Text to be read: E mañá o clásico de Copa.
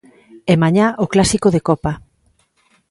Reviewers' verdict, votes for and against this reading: accepted, 2, 0